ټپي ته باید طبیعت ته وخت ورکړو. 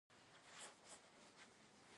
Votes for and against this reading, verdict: 0, 2, rejected